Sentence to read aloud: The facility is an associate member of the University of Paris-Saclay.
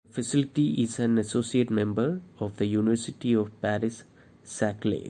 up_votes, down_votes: 1, 2